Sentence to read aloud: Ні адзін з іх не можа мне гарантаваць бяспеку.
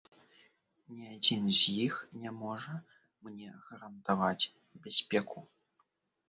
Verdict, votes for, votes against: rejected, 0, 2